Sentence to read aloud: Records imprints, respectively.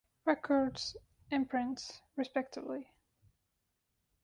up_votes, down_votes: 3, 0